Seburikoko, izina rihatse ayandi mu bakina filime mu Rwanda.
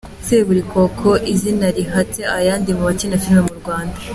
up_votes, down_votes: 2, 0